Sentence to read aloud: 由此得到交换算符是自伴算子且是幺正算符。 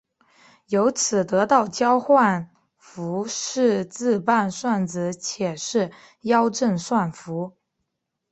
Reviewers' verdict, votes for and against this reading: accepted, 2, 0